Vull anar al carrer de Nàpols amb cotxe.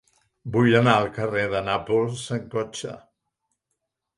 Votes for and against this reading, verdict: 3, 1, accepted